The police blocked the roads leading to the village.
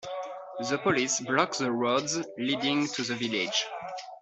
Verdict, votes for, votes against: rejected, 0, 2